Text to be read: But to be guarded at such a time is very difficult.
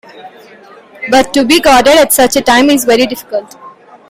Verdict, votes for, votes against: accepted, 2, 0